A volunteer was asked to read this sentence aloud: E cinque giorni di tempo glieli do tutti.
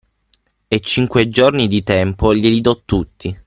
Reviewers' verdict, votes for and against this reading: accepted, 6, 0